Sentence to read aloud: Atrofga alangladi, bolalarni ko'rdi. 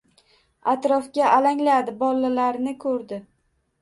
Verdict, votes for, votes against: accepted, 2, 0